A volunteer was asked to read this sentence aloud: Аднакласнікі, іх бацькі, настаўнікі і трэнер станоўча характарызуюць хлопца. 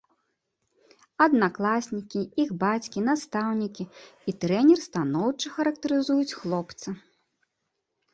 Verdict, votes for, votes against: rejected, 1, 2